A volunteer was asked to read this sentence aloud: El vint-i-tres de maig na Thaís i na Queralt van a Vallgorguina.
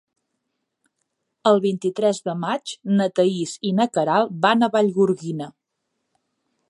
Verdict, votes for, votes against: accepted, 3, 0